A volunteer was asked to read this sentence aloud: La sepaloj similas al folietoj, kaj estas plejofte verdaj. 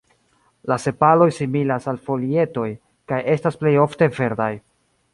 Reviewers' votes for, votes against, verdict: 2, 0, accepted